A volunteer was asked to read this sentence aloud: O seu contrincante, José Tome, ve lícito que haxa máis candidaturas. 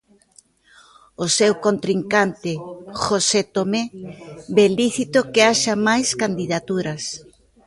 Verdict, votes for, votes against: rejected, 0, 2